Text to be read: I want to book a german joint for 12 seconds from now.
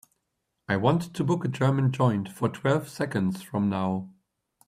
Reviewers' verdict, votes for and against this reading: rejected, 0, 2